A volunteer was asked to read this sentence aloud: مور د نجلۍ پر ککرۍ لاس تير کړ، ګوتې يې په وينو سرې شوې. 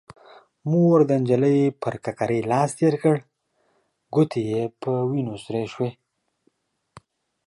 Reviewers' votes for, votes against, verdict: 3, 0, accepted